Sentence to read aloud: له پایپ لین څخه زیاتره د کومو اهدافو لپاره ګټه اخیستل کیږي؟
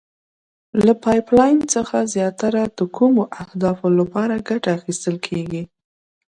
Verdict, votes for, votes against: accepted, 2, 0